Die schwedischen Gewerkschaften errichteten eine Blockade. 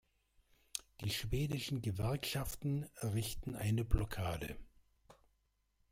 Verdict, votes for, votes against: rejected, 0, 2